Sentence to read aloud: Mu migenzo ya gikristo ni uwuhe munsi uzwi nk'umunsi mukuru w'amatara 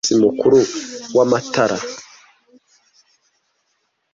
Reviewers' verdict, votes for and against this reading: rejected, 1, 2